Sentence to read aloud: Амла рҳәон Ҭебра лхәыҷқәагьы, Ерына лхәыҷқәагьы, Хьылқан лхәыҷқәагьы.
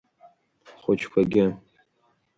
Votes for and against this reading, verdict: 1, 2, rejected